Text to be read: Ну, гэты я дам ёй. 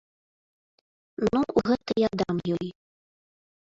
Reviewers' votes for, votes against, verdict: 2, 3, rejected